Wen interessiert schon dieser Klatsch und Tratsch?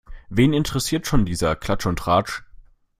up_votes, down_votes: 2, 0